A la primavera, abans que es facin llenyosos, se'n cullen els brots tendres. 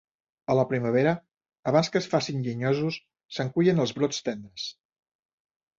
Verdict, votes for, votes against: accepted, 2, 0